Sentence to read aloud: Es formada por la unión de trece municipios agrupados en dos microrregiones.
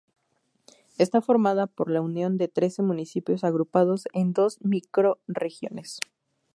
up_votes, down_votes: 0, 2